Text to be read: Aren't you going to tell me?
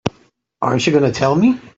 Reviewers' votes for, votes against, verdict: 2, 1, accepted